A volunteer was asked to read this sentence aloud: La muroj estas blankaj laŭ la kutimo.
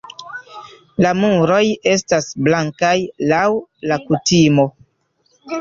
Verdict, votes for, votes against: accepted, 2, 0